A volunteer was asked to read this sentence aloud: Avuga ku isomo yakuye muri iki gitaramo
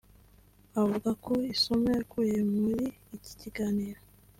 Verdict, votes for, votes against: accepted, 2, 1